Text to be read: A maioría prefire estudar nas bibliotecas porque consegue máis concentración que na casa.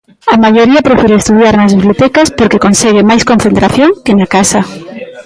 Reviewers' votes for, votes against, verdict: 2, 1, accepted